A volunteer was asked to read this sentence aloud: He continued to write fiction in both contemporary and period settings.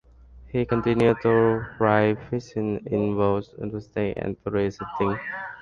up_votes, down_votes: 0, 2